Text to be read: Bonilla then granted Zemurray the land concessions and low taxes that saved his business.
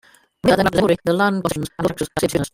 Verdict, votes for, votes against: rejected, 1, 2